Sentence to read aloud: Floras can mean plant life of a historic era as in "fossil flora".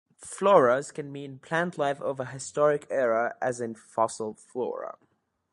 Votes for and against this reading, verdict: 2, 0, accepted